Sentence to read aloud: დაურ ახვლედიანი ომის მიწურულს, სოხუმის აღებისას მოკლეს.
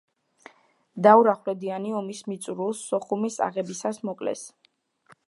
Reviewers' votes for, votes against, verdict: 2, 0, accepted